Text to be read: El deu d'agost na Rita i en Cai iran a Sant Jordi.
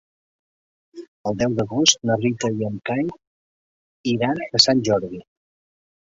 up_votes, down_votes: 4, 0